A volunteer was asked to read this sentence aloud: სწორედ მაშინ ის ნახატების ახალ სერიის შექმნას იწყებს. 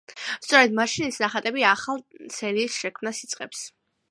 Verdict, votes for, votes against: accepted, 2, 1